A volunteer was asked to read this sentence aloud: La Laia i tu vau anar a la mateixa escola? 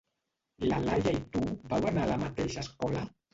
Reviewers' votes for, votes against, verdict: 0, 2, rejected